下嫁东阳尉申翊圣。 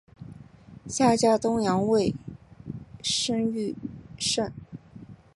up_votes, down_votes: 0, 3